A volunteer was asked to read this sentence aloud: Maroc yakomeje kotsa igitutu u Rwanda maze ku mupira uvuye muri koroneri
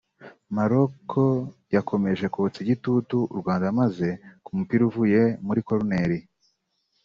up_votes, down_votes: 2, 0